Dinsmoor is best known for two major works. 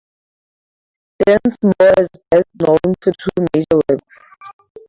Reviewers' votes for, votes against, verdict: 0, 4, rejected